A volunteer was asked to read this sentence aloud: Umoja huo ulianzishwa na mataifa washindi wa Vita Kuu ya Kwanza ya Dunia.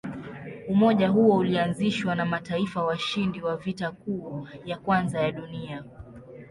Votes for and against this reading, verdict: 2, 0, accepted